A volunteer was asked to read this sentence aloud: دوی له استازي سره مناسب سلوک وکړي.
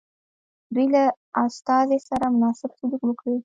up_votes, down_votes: 0, 2